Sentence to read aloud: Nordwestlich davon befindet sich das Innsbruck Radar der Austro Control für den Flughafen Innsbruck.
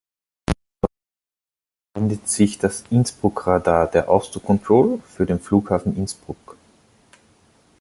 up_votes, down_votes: 0, 2